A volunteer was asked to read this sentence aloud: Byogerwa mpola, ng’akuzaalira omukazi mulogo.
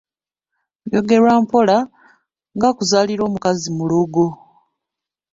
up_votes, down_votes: 1, 2